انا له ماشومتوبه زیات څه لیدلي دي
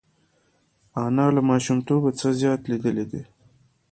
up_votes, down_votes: 2, 1